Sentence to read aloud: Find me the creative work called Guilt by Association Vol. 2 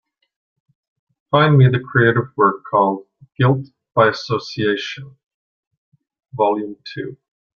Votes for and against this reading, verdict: 0, 2, rejected